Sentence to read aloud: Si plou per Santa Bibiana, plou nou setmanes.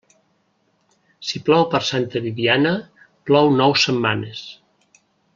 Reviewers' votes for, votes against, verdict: 2, 0, accepted